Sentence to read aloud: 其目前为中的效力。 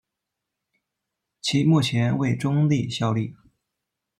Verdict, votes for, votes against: rejected, 1, 2